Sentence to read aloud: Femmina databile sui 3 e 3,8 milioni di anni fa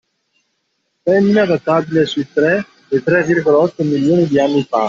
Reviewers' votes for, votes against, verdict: 0, 2, rejected